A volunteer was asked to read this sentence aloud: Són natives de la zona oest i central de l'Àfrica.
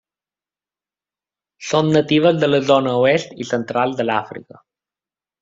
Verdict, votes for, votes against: accepted, 3, 0